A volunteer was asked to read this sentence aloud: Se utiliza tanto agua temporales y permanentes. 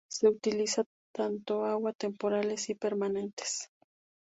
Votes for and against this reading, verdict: 4, 0, accepted